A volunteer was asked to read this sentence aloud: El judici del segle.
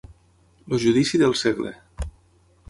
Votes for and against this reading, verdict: 3, 6, rejected